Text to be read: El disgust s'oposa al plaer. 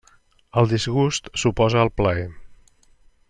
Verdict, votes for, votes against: accepted, 2, 0